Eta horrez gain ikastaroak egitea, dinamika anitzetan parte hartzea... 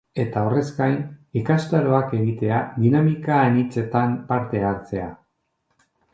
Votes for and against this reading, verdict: 2, 0, accepted